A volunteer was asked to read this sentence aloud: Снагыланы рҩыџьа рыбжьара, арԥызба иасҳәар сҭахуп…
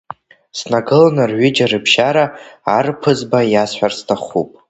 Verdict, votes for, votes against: rejected, 1, 2